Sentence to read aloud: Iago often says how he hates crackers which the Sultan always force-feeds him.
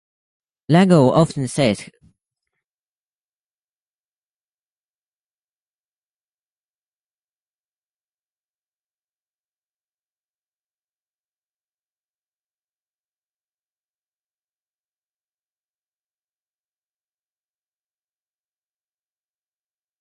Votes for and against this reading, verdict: 0, 2, rejected